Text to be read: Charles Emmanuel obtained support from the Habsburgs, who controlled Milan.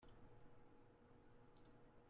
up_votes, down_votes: 0, 2